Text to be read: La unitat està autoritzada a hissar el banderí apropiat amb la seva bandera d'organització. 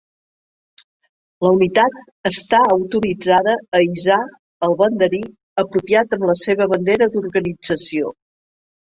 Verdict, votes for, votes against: rejected, 1, 2